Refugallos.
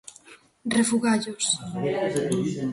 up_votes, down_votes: 0, 2